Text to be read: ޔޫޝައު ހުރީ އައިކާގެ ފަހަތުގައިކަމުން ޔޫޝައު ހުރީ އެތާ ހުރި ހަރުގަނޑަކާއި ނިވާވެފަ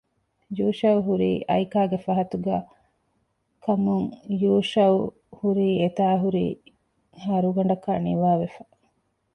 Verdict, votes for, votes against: rejected, 0, 2